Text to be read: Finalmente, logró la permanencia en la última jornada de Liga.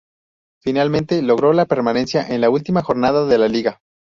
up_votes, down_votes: 0, 4